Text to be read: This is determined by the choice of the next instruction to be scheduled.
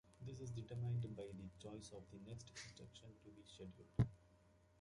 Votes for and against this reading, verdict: 2, 1, accepted